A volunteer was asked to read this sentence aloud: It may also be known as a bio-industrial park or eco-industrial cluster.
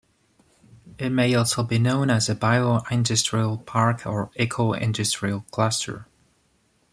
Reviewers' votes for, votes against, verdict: 0, 2, rejected